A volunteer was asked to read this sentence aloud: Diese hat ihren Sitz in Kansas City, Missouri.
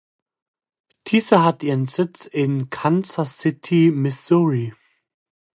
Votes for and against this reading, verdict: 2, 0, accepted